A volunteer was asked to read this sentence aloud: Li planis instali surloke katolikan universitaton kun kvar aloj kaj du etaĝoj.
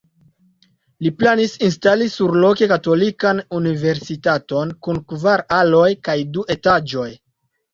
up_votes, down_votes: 2, 0